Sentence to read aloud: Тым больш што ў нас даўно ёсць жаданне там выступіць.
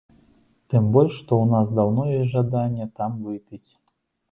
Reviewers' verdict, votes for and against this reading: rejected, 0, 2